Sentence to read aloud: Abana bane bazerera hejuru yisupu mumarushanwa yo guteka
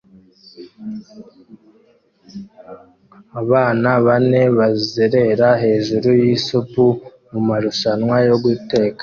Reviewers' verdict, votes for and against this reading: accepted, 2, 0